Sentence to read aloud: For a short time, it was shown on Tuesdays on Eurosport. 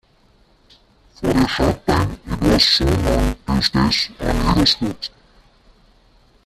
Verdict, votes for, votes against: rejected, 0, 2